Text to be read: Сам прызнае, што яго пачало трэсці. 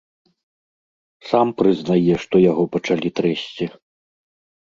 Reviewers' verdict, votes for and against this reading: rejected, 0, 2